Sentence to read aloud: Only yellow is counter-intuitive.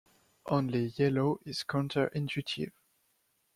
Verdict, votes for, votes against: accepted, 2, 0